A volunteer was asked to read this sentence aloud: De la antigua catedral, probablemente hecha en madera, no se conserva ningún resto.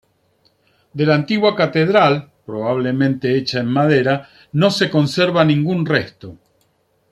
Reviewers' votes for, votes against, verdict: 2, 0, accepted